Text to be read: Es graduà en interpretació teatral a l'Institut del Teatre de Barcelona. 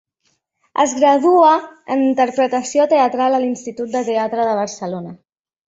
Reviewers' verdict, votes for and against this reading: rejected, 0, 2